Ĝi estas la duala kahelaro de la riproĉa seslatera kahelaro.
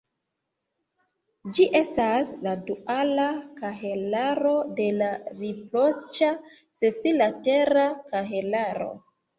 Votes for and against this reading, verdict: 1, 2, rejected